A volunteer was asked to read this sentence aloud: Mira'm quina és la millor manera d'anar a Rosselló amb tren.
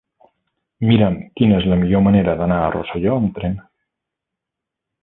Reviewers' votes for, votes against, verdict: 3, 1, accepted